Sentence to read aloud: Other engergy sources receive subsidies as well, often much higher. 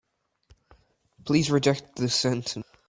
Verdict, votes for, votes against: rejected, 0, 2